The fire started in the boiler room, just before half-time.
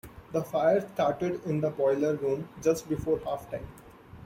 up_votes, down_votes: 2, 0